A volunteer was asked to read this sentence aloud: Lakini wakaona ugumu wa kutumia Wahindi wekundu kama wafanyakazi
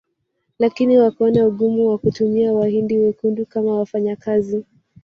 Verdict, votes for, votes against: rejected, 0, 2